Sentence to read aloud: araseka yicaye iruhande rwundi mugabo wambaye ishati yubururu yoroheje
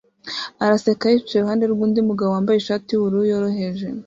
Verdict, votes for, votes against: accepted, 2, 0